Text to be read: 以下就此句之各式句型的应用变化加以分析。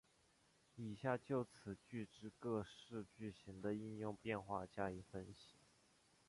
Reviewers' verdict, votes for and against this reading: accepted, 4, 2